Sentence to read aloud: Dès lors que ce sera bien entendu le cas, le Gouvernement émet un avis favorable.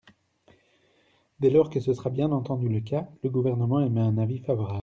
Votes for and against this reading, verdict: 2, 0, accepted